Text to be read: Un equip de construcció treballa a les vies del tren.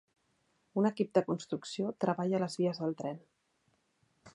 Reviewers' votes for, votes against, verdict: 2, 0, accepted